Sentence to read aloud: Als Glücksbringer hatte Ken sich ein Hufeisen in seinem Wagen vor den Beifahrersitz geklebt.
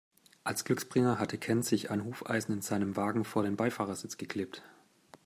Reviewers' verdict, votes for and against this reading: accepted, 2, 0